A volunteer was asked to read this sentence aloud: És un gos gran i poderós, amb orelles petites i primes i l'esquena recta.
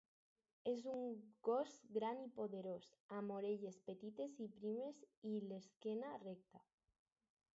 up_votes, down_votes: 4, 0